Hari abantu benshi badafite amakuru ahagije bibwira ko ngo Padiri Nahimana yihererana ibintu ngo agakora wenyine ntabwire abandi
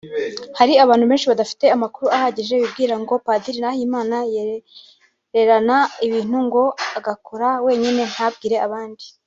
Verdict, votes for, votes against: rejected, 1, 2